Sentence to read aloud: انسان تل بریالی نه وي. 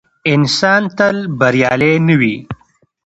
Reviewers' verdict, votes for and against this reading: accepted, 2, 0